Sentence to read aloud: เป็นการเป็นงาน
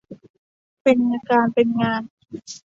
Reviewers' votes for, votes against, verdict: 2, 0, accepted